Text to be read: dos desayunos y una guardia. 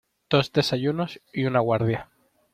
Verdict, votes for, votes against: accepted, 2, 0